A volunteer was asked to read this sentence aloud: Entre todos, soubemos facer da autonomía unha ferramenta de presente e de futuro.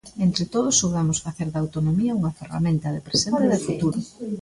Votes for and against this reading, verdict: 0, 2, rejected